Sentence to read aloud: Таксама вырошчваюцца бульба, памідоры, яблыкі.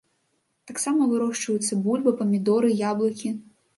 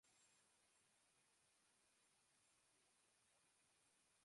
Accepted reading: first